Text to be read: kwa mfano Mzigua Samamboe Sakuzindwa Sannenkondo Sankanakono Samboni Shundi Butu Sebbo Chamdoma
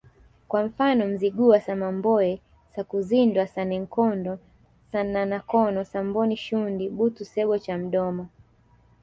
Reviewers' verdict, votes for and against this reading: accepted, 2, 0